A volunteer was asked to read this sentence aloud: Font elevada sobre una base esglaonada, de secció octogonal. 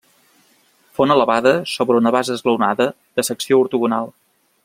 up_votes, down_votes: 0, 2